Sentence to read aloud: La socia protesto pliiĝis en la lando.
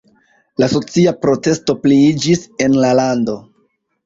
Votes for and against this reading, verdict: 1, 2, rejected